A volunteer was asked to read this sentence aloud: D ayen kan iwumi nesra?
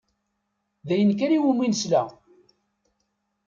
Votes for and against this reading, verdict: 0, 2, rejected